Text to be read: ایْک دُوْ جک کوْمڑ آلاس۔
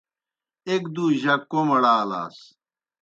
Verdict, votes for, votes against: accepted, 2, 0